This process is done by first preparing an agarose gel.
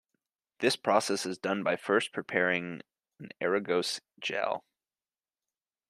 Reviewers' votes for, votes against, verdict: 1, 2, rejected